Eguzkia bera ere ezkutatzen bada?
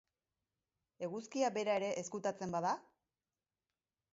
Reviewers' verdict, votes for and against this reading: rejected, 2, 2